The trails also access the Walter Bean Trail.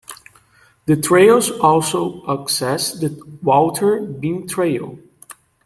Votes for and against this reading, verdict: 2, 1, accepted